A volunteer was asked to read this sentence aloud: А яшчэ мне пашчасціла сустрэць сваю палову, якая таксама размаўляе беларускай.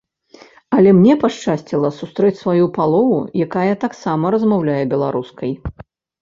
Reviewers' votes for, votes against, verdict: 1, 2, rejected